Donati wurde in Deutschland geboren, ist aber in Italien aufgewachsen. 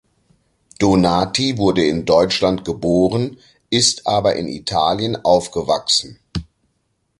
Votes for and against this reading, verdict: 2, 1, accepted